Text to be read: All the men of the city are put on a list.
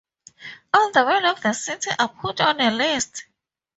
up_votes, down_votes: 2, 2